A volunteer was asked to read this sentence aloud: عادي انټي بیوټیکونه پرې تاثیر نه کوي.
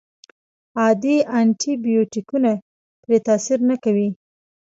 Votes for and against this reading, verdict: 1, 2, rejected